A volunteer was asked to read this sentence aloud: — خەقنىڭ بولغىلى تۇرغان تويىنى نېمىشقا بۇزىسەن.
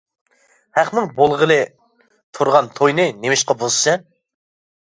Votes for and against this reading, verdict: 0, 2, rejected